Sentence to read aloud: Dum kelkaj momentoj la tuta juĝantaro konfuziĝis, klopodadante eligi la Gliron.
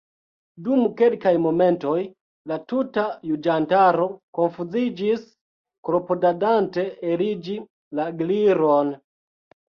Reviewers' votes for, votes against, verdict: 1, 2, rejected